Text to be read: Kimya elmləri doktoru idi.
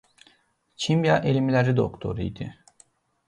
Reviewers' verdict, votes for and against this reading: accepted, 2, 0